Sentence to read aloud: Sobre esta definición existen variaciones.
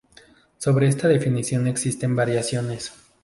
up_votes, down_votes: 0, 2